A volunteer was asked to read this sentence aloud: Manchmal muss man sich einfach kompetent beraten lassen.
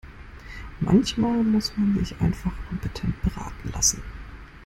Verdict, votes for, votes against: rejected, 1, 2